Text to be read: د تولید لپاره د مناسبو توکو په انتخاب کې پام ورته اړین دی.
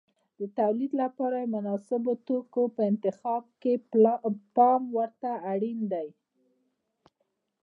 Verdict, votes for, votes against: accepted, 2, 1